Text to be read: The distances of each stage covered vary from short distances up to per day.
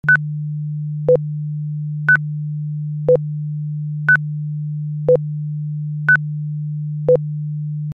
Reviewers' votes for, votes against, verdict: 0, 2, rejected